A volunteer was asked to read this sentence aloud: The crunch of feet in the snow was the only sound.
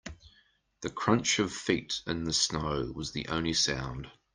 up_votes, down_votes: 3, 0